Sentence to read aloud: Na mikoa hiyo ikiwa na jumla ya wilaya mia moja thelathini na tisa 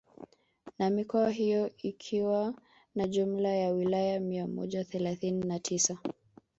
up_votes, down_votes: 3, 0